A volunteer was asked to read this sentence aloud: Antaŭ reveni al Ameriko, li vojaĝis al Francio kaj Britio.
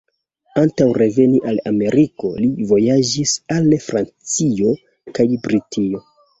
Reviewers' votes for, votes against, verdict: 0, 2, rejected